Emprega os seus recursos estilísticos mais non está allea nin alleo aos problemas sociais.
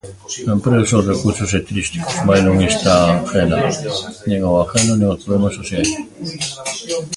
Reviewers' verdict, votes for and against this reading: rejected, 0, 2